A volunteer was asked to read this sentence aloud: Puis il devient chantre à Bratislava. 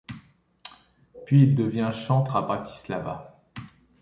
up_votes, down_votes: 3, 0